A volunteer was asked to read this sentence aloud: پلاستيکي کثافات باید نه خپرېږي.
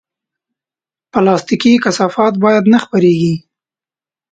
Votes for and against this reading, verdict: 2, 0, accepted